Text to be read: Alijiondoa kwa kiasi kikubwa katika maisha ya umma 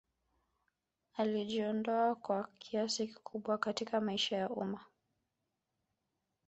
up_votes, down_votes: 0, 2